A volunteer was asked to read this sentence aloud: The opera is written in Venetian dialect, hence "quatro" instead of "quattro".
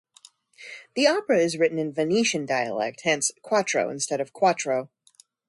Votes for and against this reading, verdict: 2, 0, accepted